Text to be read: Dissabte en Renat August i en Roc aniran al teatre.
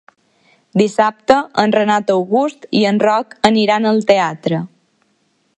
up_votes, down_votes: 3, 1